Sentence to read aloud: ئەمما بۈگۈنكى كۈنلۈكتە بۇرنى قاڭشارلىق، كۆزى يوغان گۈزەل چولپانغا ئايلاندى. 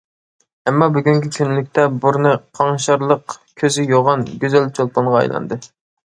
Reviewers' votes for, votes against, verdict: 2, 0, accepted